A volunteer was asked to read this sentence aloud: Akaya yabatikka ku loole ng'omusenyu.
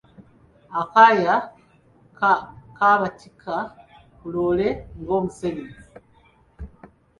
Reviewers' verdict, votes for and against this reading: rejected, 0, 2